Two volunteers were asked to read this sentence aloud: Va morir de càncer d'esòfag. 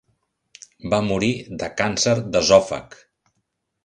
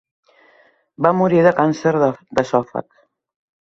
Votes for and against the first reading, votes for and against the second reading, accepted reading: 2, 0, 1, 2, first